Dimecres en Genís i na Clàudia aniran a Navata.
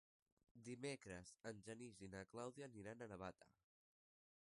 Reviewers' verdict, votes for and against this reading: accepted, 4, 1